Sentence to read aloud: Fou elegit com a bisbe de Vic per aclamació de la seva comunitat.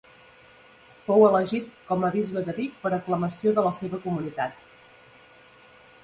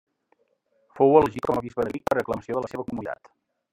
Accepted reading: first